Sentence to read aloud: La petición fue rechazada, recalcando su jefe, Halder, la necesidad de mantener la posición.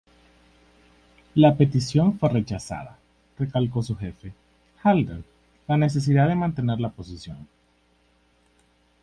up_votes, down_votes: 0, 2